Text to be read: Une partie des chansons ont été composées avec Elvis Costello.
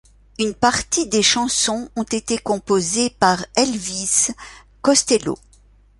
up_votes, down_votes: 1, 2